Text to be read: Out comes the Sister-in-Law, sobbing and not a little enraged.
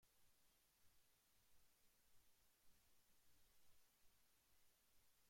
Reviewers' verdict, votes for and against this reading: rejected, 0, 2